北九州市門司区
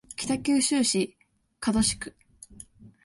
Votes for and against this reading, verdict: 2, 1, accepted